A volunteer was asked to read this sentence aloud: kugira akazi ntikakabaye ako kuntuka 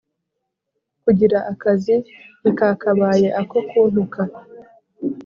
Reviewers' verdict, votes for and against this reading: accepted, 2, 0